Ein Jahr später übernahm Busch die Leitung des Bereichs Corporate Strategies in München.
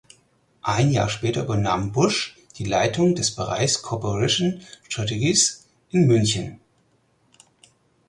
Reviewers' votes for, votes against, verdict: 0, 4, rejected